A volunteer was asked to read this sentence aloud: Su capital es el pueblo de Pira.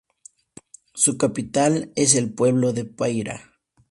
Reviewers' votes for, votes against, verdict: 0, 2, rejected